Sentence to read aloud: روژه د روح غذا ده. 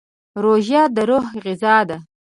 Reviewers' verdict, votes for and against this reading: accepted, 2, 0